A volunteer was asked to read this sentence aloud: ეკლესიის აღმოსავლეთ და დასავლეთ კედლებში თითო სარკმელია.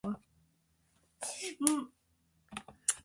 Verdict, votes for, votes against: rejected, 1, 2